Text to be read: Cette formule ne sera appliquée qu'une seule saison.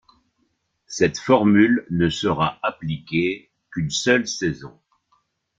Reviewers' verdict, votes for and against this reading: accepted, 2, 0